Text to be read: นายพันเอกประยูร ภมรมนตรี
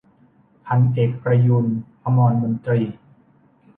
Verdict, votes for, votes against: rejected, 0, 2